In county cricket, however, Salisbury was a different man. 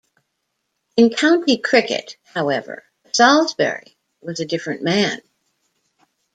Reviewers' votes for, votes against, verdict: 2, 0, accepted